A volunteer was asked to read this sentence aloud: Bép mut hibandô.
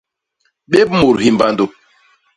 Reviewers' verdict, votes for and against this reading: rejected, 0, 2